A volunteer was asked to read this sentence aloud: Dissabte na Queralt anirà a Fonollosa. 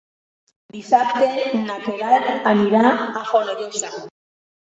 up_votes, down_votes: 2, 1